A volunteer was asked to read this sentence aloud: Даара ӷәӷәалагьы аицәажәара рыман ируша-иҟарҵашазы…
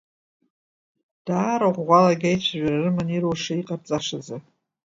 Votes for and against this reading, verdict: 2, 1, accepted